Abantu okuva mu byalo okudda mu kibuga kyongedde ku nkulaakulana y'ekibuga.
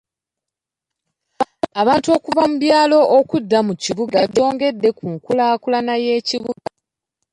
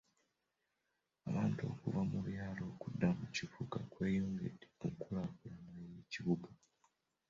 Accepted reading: first